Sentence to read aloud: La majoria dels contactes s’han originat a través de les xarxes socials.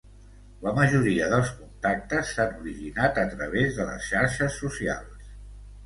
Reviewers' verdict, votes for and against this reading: accepted, 2, 0